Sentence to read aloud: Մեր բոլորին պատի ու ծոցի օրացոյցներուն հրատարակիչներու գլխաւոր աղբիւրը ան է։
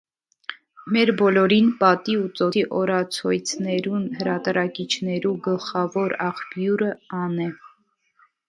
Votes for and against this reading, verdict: 2, 0, accepted